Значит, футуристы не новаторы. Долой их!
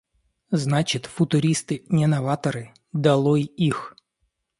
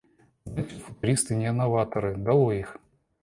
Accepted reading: first